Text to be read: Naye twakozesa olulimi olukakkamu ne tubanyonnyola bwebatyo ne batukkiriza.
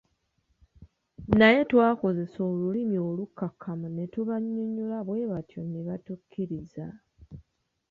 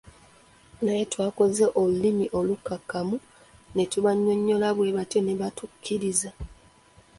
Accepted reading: first